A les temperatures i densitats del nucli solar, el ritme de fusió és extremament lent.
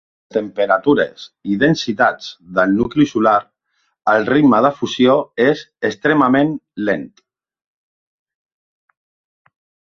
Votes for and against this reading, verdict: 1, 2, rejected